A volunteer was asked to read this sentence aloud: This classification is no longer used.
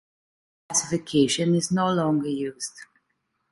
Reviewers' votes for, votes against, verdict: 0, 2, rejected